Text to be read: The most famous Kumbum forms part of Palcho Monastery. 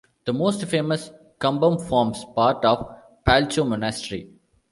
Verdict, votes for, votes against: accepted, 2, 0